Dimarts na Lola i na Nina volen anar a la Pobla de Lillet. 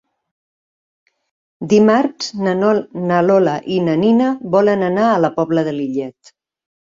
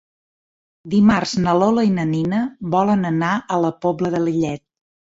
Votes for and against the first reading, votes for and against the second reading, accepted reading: 1, 2, 3, 0, second